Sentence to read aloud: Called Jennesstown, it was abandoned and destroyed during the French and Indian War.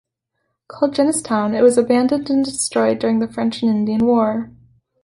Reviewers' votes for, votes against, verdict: 2, 1, accepted